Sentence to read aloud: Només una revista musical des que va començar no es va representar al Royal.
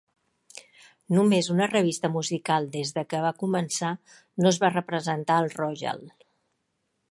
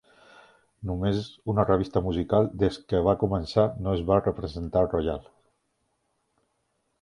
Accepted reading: second